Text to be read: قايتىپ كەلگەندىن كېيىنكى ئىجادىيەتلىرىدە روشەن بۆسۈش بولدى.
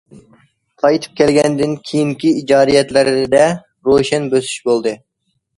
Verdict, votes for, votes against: rejected, 0, 2